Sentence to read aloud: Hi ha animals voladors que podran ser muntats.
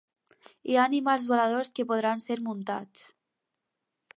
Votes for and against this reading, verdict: 4, 0, accepted